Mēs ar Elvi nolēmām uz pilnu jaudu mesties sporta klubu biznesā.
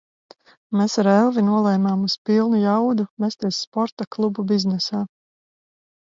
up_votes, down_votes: 4, 0